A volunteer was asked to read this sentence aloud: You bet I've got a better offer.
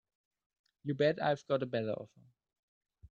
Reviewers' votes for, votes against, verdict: 0, 2, rejected